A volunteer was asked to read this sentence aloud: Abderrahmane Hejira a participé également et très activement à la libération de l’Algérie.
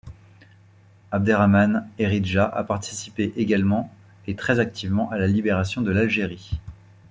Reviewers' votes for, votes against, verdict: 1, 2, rejected